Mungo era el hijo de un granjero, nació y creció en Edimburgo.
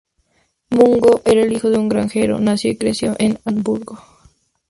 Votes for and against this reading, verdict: 2, 0, accepted